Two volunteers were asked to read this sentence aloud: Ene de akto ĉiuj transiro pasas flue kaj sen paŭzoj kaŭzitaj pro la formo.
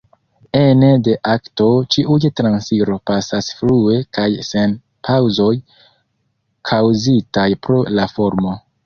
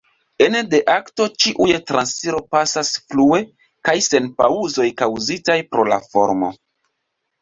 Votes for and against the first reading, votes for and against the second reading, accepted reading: 1, 2, 3, 0, second